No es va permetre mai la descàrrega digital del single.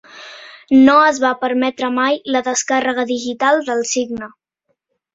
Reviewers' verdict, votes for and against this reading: rejected, 0, 2